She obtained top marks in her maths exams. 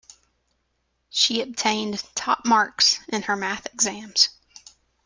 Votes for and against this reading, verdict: 0, 2, rejected